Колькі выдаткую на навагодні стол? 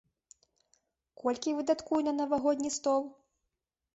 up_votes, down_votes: 2, 0